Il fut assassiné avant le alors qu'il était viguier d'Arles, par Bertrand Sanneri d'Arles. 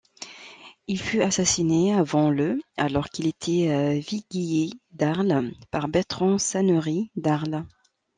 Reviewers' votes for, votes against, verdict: 1, 2, rejected